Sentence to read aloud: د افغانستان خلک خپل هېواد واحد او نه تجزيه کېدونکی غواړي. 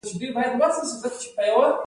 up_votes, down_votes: 0, 2